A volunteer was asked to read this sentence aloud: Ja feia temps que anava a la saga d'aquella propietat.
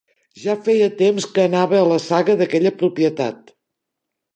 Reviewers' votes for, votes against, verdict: 3, 0, accepted